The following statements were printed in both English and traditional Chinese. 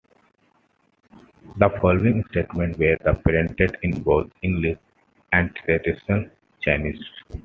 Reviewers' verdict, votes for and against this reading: accepted, 2, 1